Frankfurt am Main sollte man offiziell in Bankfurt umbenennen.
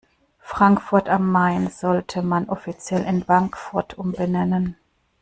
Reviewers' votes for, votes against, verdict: 2, 0, accepted